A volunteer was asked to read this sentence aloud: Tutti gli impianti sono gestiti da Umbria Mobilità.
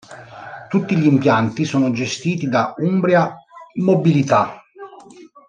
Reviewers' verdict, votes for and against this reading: accepted, 2, 1